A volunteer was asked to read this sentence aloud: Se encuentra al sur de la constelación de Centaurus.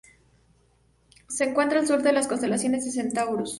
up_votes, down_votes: 0, 2